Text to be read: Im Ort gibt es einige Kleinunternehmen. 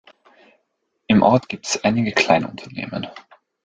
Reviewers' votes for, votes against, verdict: 2, 1, accepted